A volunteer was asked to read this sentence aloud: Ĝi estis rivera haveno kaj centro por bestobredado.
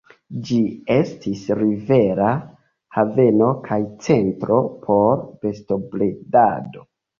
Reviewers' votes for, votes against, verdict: 3, 2, accepted